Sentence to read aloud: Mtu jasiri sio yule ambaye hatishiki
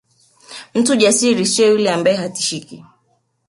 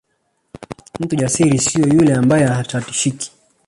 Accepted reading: first